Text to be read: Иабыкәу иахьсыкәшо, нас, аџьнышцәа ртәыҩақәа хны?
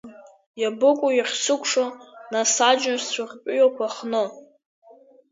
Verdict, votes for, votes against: accepted, 2, 1